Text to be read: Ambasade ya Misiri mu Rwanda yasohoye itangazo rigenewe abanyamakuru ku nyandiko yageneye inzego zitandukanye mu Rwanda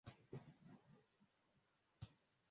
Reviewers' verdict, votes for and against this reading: rejected, 0, 2